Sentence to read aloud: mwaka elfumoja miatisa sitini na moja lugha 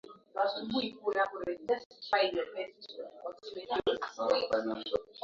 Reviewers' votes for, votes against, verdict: 0, 2, rejected